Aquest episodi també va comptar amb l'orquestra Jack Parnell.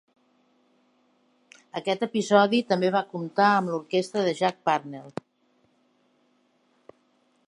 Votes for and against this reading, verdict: 2, 3, rejected